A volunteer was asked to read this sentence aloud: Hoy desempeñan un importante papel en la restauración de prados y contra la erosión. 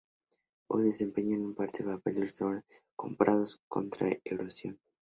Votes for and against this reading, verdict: 0, 2, rejected